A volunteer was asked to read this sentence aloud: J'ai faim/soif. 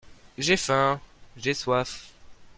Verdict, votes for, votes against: rejected, 1, 2